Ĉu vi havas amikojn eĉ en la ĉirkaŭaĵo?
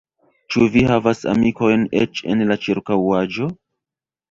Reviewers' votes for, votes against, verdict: 2, 1, accepted